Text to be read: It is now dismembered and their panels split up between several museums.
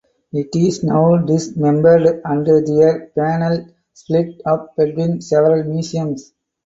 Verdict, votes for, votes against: rejected, 0, 2